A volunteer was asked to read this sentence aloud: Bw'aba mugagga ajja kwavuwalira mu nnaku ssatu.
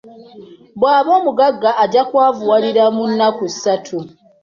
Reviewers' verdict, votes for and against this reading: rejected, 0, 2